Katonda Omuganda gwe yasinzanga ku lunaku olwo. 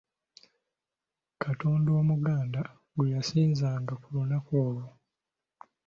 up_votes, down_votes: 2, 0